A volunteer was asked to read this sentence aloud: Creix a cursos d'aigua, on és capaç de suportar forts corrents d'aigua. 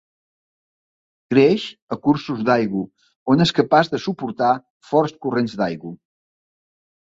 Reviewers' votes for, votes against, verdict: 0, 2, rejected